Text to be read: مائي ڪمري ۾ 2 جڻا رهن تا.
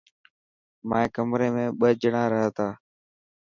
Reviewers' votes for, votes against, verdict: 0, 2, rejected